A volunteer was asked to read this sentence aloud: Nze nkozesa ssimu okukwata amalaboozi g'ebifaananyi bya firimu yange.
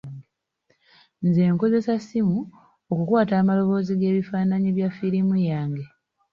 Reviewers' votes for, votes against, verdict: 2, 0, accepted